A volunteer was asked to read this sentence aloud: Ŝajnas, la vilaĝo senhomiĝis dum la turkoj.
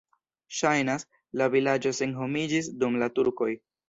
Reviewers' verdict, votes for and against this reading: accepted, 2, 0